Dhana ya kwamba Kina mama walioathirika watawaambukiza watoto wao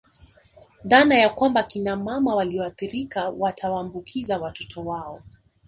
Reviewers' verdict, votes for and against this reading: rejected, 1, 2